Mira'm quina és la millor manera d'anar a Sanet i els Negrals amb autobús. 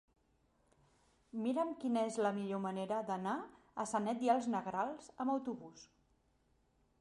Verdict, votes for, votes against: accepted, 4, 0